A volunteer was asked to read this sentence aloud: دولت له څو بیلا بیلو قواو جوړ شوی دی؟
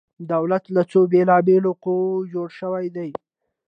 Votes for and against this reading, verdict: 2, 0, accepted